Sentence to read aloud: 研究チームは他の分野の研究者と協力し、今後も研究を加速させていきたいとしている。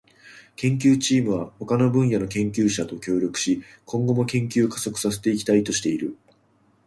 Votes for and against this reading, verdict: 2, 1, accepted